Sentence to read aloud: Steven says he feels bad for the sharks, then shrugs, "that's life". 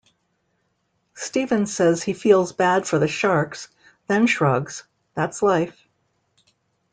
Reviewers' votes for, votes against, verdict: 0, 2, rejected